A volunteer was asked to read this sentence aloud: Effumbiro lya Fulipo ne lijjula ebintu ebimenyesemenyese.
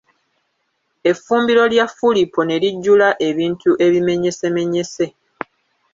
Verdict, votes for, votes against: rejected, 1, 2